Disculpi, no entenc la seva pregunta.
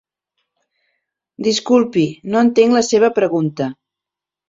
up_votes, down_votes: 2, 0